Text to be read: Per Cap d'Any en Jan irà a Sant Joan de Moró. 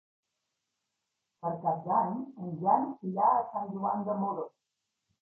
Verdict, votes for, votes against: accepted, 2, 1